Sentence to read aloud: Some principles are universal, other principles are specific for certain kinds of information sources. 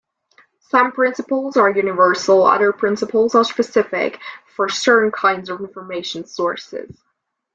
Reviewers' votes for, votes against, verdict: 2, 0, accepted